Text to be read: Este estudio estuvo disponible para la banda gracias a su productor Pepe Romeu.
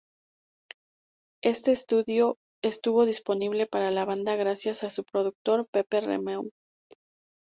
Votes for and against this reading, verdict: 2, 0, accepted